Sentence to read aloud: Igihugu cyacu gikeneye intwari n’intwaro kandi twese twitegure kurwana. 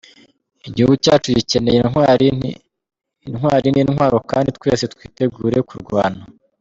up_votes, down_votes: 0, 2